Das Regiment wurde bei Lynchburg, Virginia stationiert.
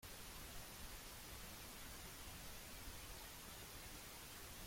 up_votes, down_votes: 0, 2